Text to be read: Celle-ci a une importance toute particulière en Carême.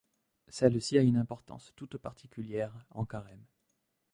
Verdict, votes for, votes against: rejected, 1, 2